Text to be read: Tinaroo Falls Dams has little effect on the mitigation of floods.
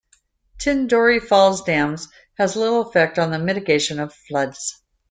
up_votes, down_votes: 0, 2